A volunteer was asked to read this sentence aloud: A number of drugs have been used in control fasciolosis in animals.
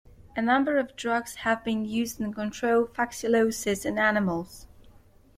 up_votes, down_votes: 2, 0